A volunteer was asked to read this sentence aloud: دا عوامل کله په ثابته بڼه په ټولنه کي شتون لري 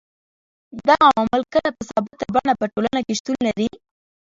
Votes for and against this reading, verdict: 2, 3, rejected